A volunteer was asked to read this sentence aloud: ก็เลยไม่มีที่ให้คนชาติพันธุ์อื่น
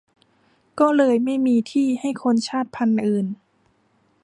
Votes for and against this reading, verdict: 2, 1, accepted